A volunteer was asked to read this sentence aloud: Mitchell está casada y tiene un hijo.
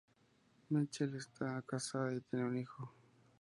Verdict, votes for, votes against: accepted, 6, 0